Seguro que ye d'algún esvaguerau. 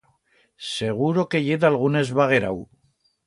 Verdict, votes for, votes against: accepted, 2, 0